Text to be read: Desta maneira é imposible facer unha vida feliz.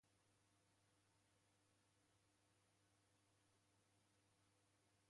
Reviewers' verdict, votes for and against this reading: rejected, 0, 2